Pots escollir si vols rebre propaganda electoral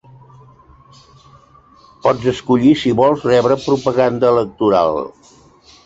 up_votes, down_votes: 0, 4